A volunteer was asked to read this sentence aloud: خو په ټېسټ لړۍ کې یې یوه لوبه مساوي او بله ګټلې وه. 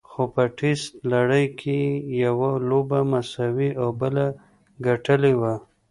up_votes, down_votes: 1, 2